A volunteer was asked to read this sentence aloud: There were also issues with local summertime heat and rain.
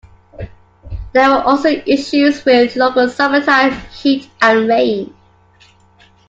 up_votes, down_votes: 2, 0